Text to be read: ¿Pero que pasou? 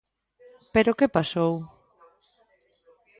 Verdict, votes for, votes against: accepted, 2, 1